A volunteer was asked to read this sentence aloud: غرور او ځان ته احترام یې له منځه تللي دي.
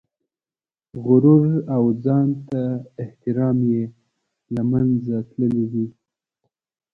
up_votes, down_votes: 2, 0